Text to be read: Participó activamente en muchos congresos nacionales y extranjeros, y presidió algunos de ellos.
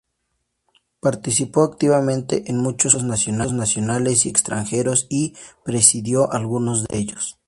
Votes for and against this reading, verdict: 2, 0, accepted